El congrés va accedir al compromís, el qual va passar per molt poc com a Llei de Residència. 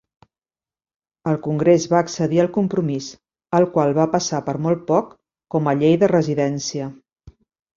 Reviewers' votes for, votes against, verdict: 0, 2, rejected